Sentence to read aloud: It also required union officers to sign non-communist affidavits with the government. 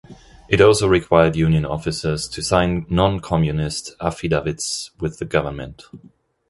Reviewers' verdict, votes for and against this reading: rejected, 0, 2